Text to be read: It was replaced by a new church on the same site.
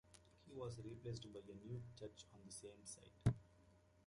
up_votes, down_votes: 0, 2